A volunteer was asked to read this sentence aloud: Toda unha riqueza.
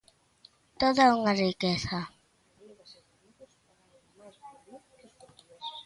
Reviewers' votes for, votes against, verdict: 2, 0, accepted